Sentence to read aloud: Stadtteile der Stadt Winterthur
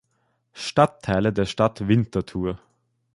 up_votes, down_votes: 2, 0